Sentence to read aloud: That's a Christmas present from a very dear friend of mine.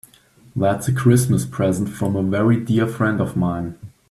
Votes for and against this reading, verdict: 2, 0, accepted